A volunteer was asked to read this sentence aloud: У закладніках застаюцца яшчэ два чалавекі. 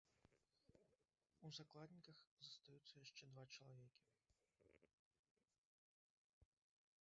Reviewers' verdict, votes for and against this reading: rejected, 0, 2